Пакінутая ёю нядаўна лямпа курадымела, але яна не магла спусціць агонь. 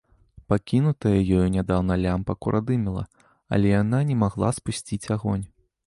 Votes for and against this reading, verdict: 2, 0, accepted